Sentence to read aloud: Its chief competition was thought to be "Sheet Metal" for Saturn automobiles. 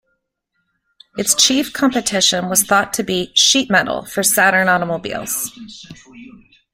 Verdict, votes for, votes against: accepted, 2, 0